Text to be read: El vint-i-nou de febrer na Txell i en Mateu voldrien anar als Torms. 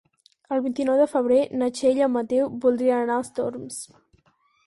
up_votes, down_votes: 4, 0